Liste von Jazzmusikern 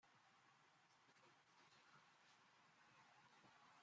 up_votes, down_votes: 0, 2